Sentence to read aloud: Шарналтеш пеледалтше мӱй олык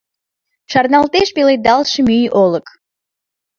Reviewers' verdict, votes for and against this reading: accepted, 2, 0